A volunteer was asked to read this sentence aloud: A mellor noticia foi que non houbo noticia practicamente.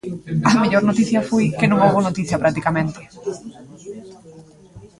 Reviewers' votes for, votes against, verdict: 3, 0, accepted